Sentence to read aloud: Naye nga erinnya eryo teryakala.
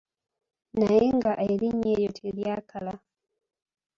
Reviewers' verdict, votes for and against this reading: accepted, 2, 1